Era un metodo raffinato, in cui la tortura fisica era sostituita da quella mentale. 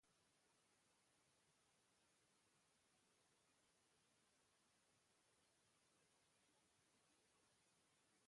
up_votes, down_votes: 0, 2